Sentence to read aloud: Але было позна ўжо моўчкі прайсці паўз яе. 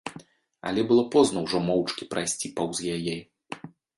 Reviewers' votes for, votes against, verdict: 2, 0, accepted